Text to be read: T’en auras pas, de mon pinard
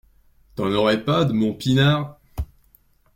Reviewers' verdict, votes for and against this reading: rejected, 1, 2